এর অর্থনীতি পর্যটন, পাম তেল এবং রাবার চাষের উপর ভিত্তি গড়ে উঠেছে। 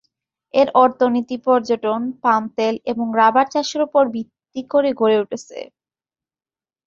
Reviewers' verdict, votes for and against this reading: rejected, 0, 2